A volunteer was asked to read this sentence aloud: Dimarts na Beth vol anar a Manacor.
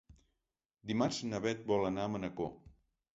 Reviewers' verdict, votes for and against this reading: accepted, 2, 0